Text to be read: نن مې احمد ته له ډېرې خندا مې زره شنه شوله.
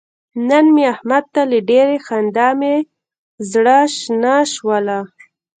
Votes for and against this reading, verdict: 3, 0, accepted